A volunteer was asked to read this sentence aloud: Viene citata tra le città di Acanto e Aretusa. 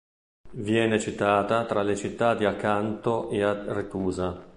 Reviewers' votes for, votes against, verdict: 1, 2, rejected